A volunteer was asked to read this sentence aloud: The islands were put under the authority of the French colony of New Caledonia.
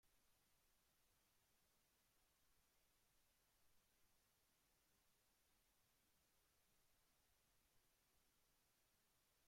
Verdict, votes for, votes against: rejected, 0, 2